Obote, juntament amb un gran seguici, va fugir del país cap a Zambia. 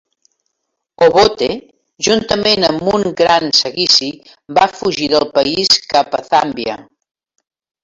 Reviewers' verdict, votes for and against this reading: rejected, 1, 2